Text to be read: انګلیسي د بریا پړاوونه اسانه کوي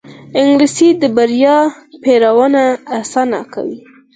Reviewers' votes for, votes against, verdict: 0, 4, rejected